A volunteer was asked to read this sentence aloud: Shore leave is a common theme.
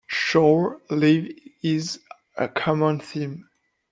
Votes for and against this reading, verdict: 2, 1, accepted